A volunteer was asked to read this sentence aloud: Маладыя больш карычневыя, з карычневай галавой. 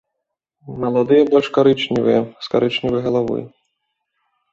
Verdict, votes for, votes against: accepted, 2, 0